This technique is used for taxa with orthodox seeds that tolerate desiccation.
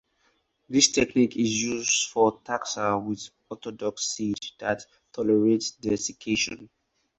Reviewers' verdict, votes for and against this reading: accepted, 4, 0